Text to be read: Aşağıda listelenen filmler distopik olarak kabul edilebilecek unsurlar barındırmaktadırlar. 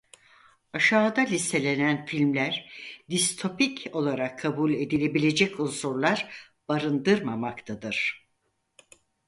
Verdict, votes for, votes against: rejected, 0, 4